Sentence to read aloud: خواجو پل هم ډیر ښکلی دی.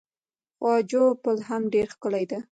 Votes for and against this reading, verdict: 2, 0, accepted